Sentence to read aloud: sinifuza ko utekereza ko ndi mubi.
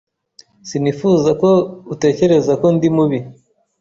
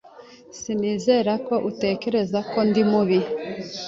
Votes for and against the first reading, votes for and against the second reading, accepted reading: 2, 0, 1, 2, first